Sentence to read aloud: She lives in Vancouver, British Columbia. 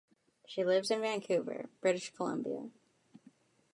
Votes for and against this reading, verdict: 2, 0, accepted